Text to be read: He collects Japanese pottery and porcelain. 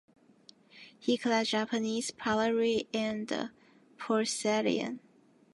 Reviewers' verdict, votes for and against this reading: rejected, 1, 2